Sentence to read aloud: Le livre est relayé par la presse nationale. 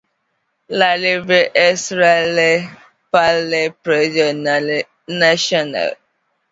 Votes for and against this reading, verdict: 0, 2, rejected